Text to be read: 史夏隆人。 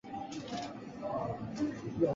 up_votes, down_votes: 0, 2